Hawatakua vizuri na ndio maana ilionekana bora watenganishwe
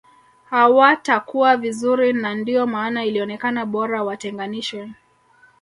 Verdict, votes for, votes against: rejected, 1, 2